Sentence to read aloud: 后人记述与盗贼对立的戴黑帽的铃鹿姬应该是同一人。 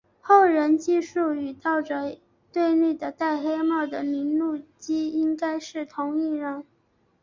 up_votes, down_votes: 4, 2